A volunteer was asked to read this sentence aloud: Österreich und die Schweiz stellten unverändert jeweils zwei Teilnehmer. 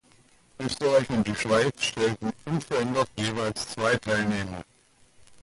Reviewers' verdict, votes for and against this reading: accepted, 2, 1